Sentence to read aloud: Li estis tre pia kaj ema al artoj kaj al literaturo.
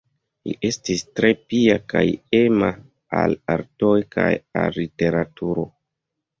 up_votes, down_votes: 2, 0